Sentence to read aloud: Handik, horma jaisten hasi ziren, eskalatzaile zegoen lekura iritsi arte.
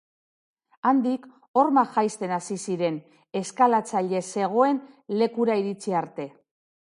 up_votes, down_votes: 3, 1